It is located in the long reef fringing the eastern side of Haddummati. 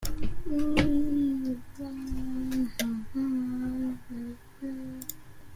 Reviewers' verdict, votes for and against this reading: rejected, 1, 2